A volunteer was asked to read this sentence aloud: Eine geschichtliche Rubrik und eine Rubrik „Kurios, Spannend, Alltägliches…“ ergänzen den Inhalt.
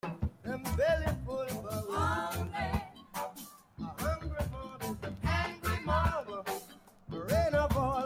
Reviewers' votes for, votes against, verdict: 0, 2, rejected